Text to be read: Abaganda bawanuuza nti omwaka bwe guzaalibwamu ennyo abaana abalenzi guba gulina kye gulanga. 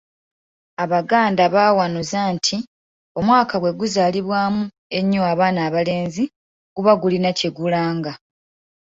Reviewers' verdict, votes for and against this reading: accepted, 2, 0